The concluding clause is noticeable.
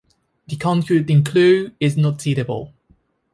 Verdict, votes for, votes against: rejected, 0, 2